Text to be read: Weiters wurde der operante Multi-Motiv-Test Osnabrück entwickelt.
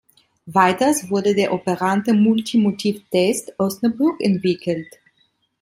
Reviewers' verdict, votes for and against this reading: rejected, 0, 2